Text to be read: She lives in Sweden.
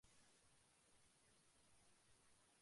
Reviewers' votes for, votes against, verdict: 0, 2, rejected